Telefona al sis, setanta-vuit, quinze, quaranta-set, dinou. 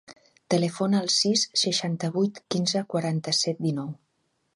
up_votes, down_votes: 1, 2